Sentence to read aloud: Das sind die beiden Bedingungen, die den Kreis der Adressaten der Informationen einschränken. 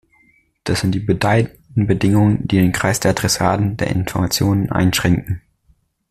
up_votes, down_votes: 0, 2